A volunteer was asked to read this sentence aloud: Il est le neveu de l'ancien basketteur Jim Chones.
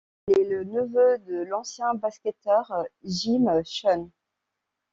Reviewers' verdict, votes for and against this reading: accepted, 2, 0